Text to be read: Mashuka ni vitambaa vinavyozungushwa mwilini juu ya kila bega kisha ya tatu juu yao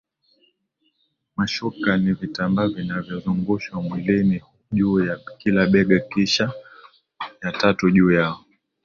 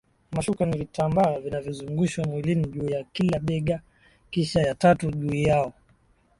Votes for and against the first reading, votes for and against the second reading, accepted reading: 2, 1, 1, 2, first